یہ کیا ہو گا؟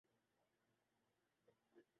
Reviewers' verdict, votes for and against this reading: rejected, 0, 2